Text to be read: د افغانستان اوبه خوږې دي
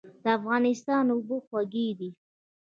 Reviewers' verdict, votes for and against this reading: accepted, 2, 1